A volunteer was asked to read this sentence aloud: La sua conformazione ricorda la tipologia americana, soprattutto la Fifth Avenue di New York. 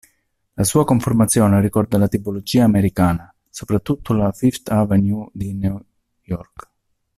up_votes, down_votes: 1, 2